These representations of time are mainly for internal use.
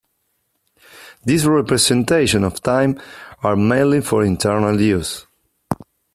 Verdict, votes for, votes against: accepted, 2, 1